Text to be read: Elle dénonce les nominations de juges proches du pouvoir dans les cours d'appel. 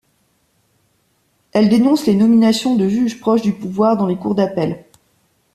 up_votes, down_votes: 2, 0